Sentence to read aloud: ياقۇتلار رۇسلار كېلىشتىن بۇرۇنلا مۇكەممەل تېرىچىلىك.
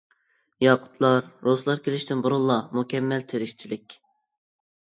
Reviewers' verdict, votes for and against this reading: rejected, 0, 2